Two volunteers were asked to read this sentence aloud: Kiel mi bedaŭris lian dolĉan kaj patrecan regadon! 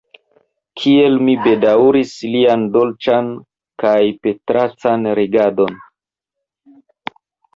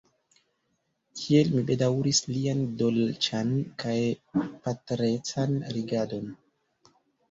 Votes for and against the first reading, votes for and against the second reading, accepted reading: 0, 2, 3, 1, second